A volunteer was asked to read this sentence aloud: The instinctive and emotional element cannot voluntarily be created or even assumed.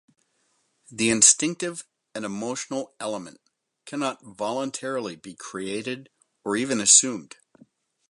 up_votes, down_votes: 0, 2